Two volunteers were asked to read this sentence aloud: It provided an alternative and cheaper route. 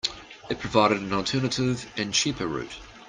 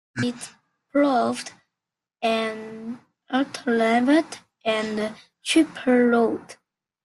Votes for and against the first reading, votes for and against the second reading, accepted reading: 2, 0, 0, 2, first